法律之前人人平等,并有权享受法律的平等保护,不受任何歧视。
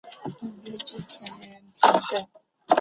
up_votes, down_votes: 1, 2